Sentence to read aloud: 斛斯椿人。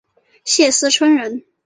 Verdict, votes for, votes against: rejected, 0, 2